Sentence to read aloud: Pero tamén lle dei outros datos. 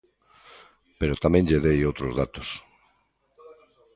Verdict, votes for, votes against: rejected, 0, 2